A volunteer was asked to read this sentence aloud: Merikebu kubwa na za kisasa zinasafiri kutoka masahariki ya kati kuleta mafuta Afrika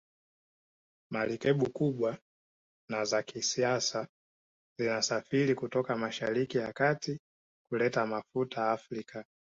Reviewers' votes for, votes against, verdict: 1, 2, rejected